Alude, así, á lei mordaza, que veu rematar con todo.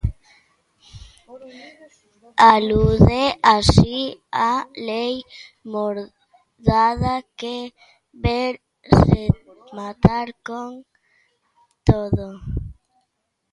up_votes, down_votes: 0, 2